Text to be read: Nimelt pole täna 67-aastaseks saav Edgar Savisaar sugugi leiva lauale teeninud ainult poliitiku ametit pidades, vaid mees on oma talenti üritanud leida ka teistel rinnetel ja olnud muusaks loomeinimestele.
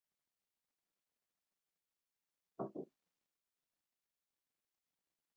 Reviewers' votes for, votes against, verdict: 0, 2, rejected